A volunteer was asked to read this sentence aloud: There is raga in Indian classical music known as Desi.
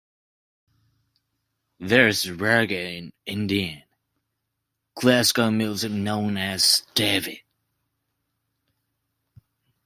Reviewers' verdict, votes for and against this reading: rejected, 0, 2